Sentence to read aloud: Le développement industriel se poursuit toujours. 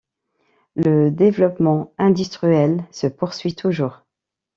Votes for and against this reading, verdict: 1, 2, rejected